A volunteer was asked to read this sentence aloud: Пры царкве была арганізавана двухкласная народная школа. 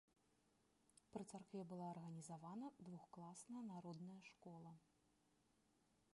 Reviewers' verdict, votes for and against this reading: rejected, 0, 2